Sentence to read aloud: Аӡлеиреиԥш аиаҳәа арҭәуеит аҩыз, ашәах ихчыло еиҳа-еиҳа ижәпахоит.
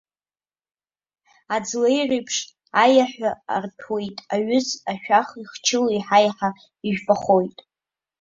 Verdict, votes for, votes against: accepted, 2, 0